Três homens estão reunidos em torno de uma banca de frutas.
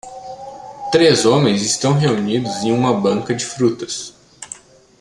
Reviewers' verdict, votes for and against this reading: rejected, 0, 2